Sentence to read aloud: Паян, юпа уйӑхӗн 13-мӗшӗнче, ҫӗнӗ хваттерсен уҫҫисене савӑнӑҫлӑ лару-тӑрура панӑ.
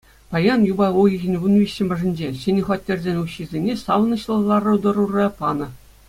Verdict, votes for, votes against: rejected, 0, 2